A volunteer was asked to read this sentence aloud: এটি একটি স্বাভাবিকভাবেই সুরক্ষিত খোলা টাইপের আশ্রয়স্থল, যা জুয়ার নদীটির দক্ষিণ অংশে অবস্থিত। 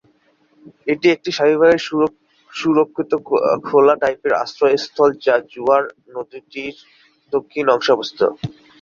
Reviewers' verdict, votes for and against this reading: rejected, 0, 2